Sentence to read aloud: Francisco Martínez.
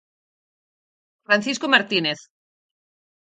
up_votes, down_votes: 4, 0